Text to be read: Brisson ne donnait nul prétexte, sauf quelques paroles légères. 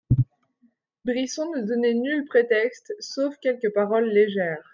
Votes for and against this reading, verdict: 2, 0, accepted